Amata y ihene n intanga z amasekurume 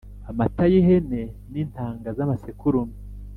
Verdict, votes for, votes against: accepted, 2, 0